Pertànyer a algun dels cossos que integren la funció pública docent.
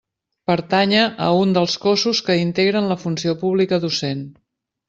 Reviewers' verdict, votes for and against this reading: rejected, 0, 2